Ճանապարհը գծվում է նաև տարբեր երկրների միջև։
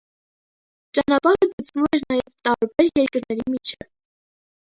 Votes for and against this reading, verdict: 0, 2, rejected